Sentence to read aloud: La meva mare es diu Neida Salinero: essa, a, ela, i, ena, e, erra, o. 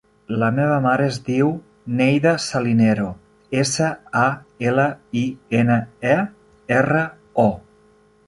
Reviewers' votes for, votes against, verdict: 3, 0, accepted